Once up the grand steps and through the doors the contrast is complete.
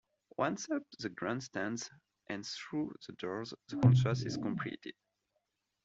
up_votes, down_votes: 1, 2